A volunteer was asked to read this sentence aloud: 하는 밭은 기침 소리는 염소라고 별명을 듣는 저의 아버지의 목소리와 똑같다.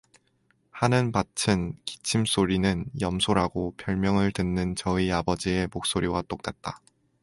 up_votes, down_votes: 2, 0